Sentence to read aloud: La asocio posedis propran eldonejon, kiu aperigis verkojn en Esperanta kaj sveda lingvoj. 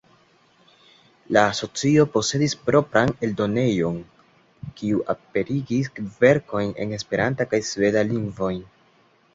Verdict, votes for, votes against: accepted, 2, 0